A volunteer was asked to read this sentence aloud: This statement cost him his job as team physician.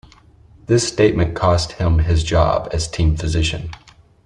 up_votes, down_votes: 2, 0